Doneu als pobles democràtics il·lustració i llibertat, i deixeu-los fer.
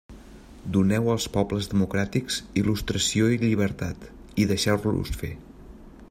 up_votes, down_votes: 2, 0